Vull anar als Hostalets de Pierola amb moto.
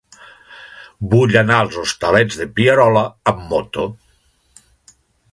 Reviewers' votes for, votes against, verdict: 2, 0, accepted